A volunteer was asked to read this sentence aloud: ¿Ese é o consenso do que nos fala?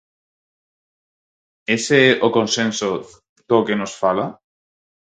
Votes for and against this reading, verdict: 4, 0, accepted